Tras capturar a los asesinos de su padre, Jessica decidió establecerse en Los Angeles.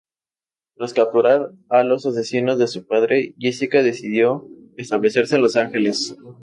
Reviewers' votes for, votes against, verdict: 2, 0, accepted